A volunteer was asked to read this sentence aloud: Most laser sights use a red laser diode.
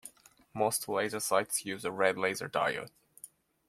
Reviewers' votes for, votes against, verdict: 2, 0, accepted